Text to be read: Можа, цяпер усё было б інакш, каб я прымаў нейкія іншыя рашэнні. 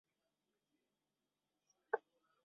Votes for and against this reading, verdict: 0, 2, rejected